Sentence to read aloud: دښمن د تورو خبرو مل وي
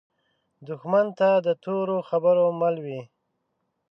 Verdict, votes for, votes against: rejected, 0, 2